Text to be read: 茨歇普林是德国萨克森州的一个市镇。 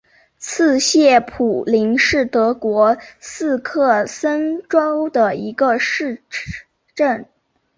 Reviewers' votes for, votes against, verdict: 5, 1, accepted